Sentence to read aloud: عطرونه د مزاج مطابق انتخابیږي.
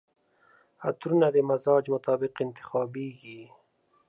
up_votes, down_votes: 2, 0